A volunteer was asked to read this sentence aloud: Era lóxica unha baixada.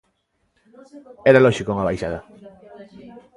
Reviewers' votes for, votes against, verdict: 2, 1, accepted